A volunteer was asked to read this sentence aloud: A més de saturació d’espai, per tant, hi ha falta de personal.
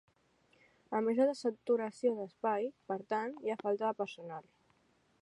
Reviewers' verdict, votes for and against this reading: rejected, 1, 2